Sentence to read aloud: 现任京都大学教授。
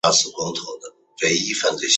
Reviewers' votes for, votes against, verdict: 2, 5, rejected